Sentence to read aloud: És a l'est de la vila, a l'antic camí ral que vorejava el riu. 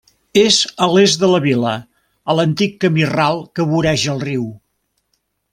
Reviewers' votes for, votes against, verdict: 1, 2, rejected